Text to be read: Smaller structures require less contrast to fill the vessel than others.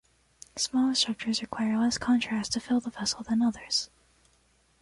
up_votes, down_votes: 0, 2